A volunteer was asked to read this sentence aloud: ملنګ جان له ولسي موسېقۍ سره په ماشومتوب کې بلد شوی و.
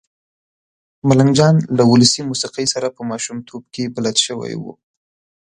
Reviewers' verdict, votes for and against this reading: accepted, 2, 0